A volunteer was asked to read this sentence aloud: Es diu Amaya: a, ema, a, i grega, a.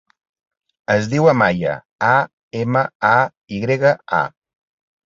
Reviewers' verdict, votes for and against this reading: accepted, 3, 0